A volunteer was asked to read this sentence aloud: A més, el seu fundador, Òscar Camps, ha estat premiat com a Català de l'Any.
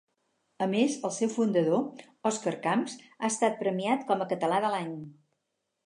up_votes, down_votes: 0, 4